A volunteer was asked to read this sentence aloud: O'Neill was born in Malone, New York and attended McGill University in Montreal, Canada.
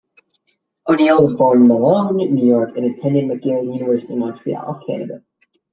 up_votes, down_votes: 2, 1